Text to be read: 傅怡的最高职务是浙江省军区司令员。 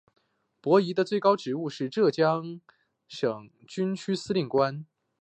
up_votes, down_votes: 2, 3